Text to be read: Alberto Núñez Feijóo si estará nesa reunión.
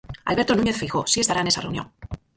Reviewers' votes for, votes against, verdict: 0, 4, rejected